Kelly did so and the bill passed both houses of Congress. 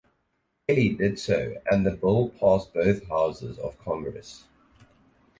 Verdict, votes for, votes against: rejected, 2, 2